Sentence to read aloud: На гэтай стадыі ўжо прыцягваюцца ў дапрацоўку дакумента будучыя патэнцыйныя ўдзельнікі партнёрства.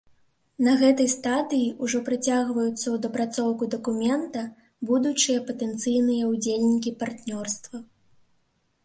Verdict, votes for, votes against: accepted, 2, 0